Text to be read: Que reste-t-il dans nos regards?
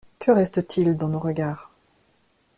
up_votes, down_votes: 2, 0